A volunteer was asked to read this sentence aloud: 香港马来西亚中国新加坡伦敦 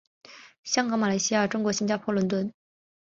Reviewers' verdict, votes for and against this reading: accepted, 3, 0